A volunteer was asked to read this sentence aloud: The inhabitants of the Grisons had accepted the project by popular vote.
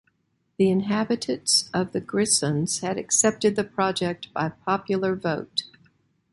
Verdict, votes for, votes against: accepted, 2, 1